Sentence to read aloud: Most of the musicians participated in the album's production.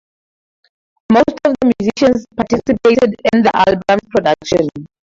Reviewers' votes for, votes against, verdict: 0, 2, rejected